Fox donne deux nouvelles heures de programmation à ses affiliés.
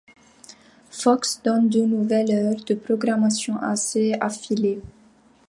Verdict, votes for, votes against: accepted, 2, 1